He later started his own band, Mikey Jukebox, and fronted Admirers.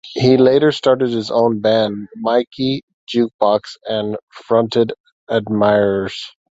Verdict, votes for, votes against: accepted, 2, 0